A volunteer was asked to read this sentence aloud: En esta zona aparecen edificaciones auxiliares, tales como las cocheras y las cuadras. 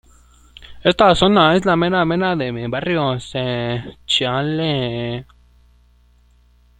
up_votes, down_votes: 0, 2